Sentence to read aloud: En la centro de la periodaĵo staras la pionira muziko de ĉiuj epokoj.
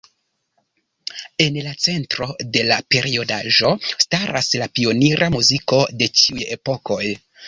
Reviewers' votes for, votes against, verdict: 2, 0, accepted